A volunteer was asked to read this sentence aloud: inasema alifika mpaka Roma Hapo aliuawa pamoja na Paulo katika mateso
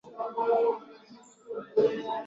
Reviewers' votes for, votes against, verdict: 0, 2, rejected